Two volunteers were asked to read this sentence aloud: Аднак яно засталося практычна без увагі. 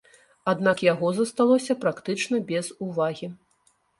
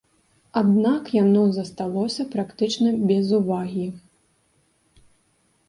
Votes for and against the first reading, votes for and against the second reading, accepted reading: 0, 3, 2, 0, second